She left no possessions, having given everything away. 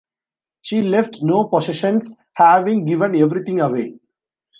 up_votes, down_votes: 2, 0